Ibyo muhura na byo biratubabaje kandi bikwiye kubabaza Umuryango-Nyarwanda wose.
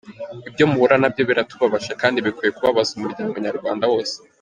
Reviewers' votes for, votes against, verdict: 2, 1, accepted